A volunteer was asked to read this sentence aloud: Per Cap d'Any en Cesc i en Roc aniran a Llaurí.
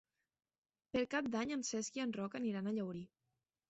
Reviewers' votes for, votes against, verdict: 3, 0, accepted